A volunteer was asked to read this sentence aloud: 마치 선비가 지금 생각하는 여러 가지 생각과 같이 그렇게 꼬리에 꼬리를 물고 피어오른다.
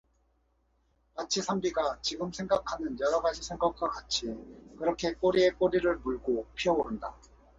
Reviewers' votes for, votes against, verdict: 0, 2, rejected